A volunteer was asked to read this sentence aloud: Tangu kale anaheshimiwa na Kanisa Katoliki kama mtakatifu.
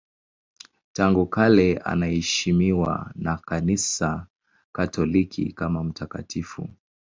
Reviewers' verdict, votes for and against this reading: accepted, 2, 0